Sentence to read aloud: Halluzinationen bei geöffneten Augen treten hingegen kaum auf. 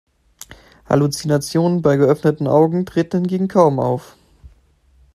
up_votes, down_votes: 2, 0